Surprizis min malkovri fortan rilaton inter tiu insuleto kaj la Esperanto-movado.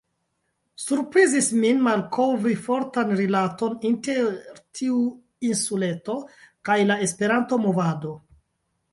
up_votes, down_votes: 0, 2